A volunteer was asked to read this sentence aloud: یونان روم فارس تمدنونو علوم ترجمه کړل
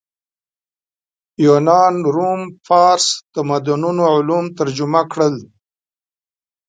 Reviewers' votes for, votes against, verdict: 0, 2, rejected